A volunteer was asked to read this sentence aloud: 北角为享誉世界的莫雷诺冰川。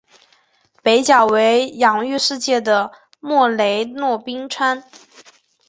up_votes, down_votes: 2, 0